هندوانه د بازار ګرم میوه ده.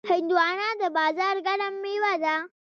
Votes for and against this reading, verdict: 1, 2, rejected